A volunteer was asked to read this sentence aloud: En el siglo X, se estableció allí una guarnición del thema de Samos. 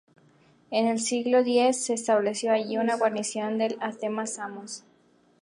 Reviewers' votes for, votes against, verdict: 0, 2, rejected